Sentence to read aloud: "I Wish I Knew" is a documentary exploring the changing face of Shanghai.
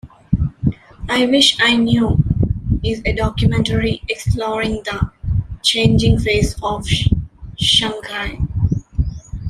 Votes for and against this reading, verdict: 2, 1, accepted